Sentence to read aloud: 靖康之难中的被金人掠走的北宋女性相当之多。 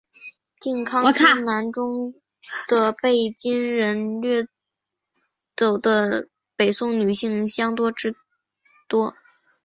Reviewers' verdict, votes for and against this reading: accepted, 3, 1